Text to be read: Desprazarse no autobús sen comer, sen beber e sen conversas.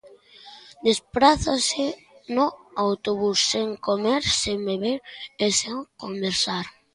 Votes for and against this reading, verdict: 0, 3, rejected